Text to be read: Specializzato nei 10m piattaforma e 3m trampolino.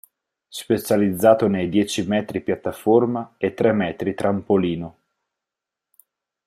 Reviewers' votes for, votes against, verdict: 0, 2, rejected